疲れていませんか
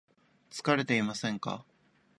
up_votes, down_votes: 2, 0